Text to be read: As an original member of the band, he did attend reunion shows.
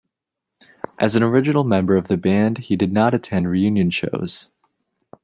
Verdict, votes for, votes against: rejected, 0, 2